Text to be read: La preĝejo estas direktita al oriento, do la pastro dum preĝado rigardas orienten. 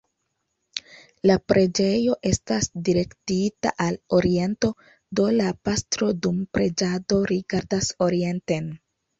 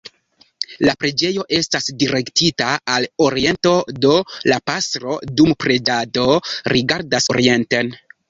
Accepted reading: first